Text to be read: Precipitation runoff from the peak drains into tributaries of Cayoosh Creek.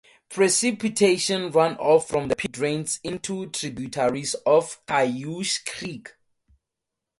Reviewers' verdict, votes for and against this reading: accepted, 2, 0